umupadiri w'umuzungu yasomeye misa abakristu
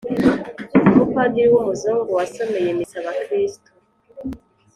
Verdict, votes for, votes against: accepted, 2, 1